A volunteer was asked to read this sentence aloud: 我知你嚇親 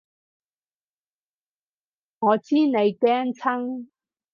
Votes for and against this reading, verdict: 0, 4, rejected